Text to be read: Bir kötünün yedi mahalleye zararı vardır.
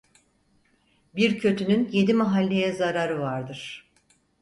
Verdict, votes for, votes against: accepted, 4, 0